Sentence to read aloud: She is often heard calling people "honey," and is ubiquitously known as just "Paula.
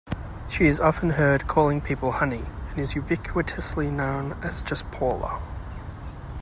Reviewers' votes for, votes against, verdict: 2, 0, accepted